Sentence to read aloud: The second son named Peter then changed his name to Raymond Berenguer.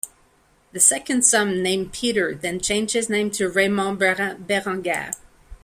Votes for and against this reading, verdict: 2, 1, accepted